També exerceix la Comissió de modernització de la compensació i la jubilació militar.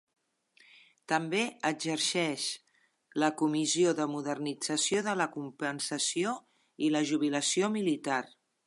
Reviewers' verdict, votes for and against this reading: accepted, 3, 1